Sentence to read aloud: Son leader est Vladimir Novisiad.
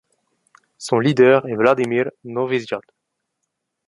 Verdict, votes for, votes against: accepted, 2, 1